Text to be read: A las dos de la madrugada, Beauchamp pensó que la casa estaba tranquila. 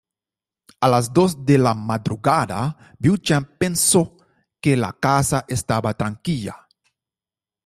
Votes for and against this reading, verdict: 0, 2, rejected